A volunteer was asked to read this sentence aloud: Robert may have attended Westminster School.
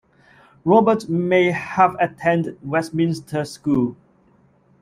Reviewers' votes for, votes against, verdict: 1, 2, rejected